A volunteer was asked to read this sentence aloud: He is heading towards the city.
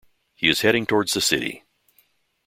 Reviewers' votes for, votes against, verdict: 2, 0, accepted